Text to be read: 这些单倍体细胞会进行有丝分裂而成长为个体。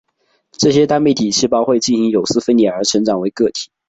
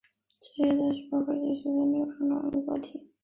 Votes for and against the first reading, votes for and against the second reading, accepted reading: 3, 0, 0, 2, first